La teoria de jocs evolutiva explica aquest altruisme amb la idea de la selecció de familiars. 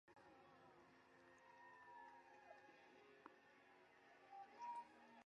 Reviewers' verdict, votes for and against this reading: rejected, 0, 4